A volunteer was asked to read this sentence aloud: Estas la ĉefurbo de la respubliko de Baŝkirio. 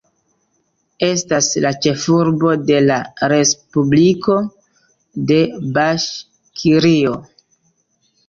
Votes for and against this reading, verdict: 2, 1, accepted